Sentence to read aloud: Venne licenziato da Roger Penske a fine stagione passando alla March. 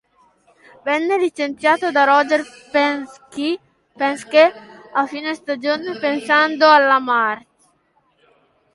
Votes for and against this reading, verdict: 0, 2, rejected